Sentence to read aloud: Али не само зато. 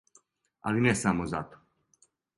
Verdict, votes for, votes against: accepted, 2, 0